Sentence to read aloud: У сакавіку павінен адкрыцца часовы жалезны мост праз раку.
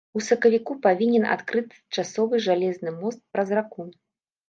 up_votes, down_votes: 1, 2